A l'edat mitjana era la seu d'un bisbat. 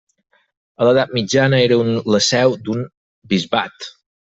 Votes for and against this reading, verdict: 2, 4, rejected